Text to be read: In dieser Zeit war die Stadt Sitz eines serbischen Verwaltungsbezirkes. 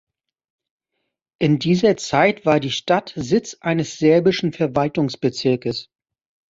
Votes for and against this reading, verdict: 2, 0, accepted